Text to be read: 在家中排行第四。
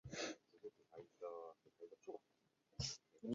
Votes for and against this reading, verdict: 1, 7, rejected